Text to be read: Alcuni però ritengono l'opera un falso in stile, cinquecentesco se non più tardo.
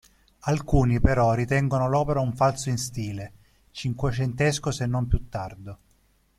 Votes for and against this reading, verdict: 2, 0, accepted